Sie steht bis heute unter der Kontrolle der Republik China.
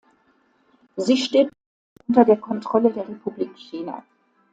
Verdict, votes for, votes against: rejected, 0, 2